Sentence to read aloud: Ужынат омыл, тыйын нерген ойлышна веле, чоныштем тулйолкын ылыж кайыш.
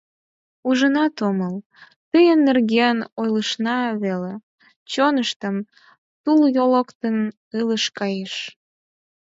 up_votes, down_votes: 4, 2